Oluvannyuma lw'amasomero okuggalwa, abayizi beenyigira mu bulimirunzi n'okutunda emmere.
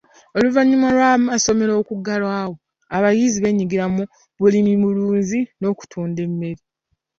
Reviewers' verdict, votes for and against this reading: rejected, 1, 2